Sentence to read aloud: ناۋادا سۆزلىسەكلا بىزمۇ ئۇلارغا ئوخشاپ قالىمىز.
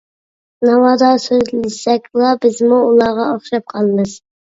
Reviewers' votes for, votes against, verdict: 1, 2, rejected